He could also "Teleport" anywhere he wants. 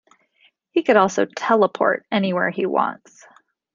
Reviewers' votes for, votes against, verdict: 2, 0, accepted